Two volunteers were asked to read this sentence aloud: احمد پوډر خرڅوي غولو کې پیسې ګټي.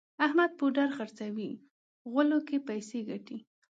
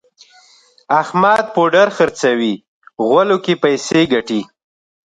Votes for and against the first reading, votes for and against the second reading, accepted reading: 1, 2, 2, 1, second